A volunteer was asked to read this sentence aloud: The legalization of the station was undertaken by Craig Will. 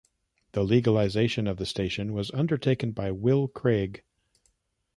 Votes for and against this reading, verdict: 0, 2, rejected